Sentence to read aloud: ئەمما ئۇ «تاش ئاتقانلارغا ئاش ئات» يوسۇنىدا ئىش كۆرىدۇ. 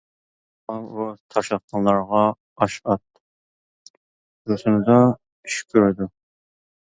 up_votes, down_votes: 0, 2